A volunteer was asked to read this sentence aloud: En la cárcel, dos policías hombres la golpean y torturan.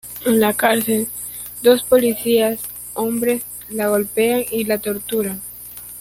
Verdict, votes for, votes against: rejected, 0, 2